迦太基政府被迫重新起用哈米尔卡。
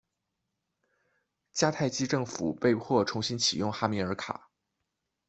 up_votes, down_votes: 2, 0